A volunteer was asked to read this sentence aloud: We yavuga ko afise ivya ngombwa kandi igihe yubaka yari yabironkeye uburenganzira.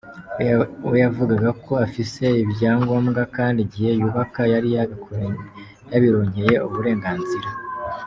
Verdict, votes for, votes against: rejected, 1, 2